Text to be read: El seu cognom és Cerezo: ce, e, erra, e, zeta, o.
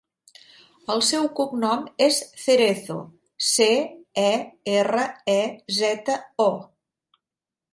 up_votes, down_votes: 3, 0